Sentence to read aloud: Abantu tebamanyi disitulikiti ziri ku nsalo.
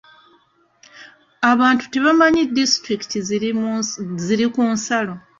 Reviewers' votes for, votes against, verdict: 0, 2, rejected